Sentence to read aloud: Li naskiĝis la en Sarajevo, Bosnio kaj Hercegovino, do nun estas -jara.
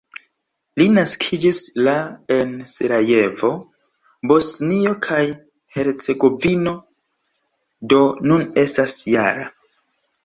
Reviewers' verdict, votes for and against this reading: rejected, 1, 3